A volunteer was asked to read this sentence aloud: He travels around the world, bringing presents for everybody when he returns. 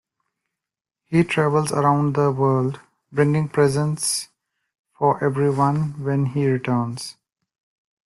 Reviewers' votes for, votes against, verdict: 0, 2, rejected